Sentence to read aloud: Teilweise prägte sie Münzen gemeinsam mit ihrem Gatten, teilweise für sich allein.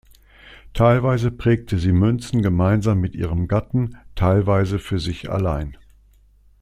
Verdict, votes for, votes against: accepted, 2, 0